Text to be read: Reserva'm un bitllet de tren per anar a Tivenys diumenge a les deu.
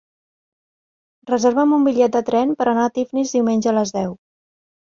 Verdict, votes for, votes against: rejected, 0, 3